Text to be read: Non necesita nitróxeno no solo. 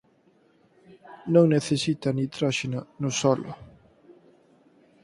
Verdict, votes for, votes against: accepted, 4, 0